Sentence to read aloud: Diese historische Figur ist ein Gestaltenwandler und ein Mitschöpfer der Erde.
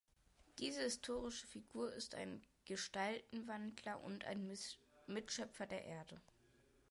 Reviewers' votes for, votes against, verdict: 0, 2, rejected